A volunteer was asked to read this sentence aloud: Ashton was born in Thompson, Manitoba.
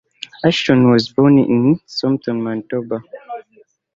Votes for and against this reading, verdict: 2, 0, accepted